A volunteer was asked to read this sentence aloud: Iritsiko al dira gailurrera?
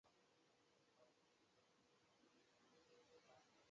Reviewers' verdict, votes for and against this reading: rejected, 0, 4